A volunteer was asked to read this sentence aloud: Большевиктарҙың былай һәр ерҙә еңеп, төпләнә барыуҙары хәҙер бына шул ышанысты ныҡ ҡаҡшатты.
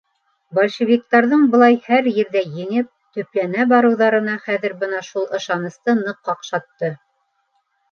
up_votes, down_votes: 2, 0